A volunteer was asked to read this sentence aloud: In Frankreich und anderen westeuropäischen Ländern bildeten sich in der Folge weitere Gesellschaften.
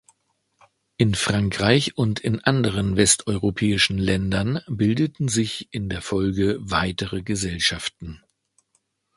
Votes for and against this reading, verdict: 1, 2, rejected